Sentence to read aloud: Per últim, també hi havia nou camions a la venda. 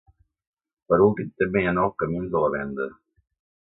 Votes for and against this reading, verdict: 0, 2, rejected